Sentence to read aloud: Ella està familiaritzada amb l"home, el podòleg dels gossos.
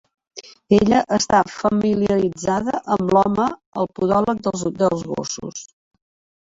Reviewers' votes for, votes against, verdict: 1, 2, rejected